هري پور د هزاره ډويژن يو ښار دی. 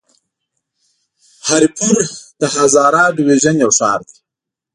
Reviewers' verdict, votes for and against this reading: accepted, 3, 0